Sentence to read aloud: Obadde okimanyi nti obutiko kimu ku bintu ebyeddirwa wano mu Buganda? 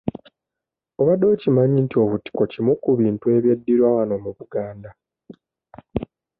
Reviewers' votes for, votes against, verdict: 2, 0, accepted